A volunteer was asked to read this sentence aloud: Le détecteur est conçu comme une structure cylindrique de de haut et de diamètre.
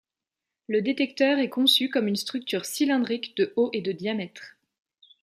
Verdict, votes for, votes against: rejected, 1, 2